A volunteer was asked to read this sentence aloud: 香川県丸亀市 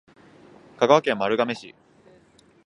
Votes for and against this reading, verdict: 2, 0, accepted